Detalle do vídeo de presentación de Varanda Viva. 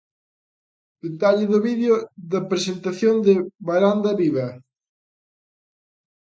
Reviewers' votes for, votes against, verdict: 0, 2, rejected